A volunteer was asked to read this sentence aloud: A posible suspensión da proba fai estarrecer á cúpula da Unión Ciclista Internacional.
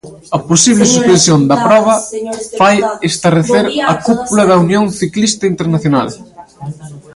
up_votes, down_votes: 0, 2